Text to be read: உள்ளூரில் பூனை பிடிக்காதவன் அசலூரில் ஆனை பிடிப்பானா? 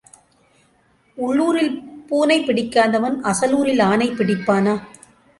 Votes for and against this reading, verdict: 2, 0, accepted